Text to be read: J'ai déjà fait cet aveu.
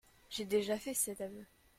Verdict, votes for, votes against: accepted, 2, 0